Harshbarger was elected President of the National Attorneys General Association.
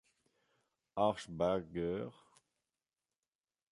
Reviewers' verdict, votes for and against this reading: rejected, 0, 2